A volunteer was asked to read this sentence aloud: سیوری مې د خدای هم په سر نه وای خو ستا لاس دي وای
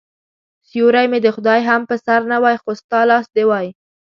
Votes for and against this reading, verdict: 2, 1, accepted